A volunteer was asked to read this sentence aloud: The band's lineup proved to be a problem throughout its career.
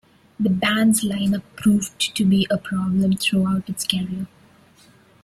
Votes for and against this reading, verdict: 2, 0, accepted